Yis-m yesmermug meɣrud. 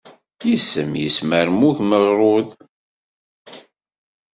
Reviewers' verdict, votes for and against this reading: rejected, 1, 2